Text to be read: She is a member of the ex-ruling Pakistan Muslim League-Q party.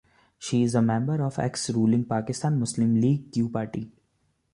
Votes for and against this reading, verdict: 0, 2, rejected